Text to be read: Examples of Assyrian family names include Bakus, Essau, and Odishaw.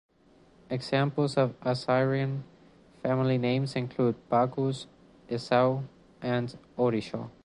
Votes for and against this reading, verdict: 1, 2, rejected